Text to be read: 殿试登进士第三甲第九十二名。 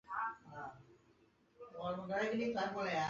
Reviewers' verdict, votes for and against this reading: rejected, 1, 5